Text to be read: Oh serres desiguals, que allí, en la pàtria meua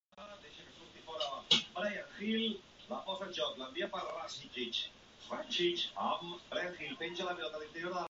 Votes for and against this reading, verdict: 1, 2, rejected